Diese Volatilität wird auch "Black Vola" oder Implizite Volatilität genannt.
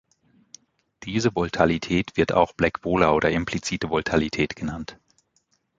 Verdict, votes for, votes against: rejected, 0, 2